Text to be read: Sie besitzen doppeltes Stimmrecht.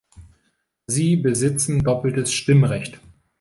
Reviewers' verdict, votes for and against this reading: rejected, 0, 2